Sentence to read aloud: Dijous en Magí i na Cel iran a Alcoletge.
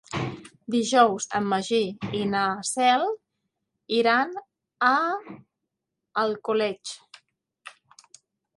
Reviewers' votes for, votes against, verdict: 1, 2, rejected